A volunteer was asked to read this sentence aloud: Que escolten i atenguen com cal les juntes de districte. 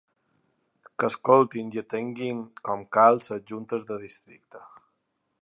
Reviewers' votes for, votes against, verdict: 0, 2, rejected